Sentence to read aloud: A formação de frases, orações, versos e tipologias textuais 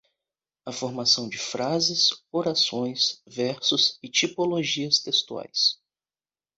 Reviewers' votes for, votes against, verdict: 2, 0, accepted